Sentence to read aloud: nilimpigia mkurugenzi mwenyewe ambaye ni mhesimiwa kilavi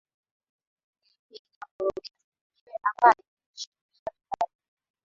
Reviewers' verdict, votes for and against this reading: rejected, 0, 3